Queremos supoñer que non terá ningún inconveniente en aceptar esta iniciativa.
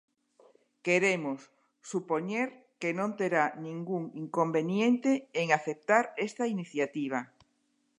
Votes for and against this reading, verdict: 4, 1, accepted